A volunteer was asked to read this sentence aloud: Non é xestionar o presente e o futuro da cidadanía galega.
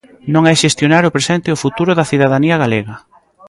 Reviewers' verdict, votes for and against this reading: rejected, 1, 2